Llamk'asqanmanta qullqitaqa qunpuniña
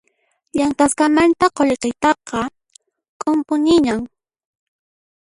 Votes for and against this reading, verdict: 0, 2, rejected